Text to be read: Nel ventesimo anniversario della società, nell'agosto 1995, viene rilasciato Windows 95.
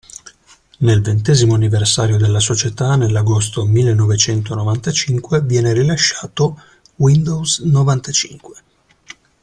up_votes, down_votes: 0, 2